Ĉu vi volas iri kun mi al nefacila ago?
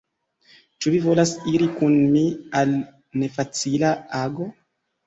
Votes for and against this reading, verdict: 2, 1, accepted